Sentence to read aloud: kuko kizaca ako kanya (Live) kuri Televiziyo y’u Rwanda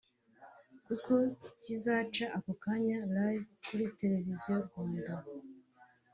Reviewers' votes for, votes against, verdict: 3, 0, accepted